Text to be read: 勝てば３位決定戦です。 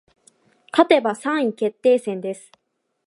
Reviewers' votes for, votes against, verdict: 0, 2, rejected